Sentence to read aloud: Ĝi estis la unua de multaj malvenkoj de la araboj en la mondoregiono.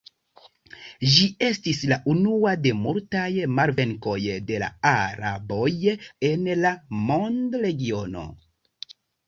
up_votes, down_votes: 1, 2